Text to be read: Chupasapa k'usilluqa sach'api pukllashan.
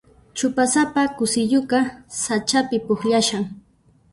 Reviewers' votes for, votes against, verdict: 0, 2, rejected